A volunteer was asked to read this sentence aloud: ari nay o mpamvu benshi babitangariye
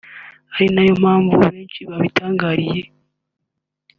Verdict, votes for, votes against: accepted, 2, 1